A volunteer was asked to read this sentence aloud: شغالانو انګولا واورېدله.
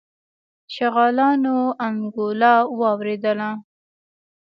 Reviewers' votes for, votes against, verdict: 2, 0, accepted